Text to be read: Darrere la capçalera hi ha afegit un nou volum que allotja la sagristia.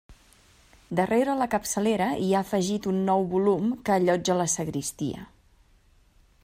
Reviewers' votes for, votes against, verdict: 3, 0, accepted